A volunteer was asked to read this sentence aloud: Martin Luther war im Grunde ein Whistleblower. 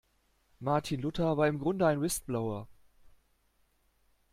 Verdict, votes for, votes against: rejected, 0, 2